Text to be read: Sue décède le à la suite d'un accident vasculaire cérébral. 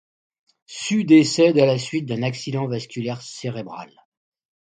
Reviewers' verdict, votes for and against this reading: rejected, 0, 2